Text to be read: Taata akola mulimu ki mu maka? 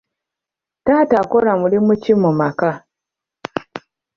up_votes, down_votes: 2, 0